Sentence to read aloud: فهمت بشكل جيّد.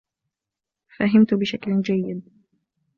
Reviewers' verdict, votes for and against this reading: accepted, 2, 0